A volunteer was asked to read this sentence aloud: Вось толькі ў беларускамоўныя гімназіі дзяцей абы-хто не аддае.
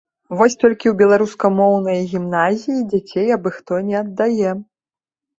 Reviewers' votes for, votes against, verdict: 3, 0, accepted